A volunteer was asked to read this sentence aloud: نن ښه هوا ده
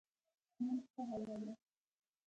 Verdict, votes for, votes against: accepted, 2, 1